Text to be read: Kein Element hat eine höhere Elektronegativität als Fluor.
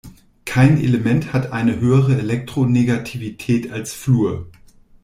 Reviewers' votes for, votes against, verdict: 1, 2, rejected